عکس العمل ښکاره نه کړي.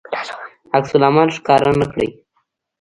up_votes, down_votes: 1, 2